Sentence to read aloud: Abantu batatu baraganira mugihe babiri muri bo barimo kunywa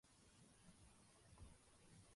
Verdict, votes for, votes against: rejected, 0, 2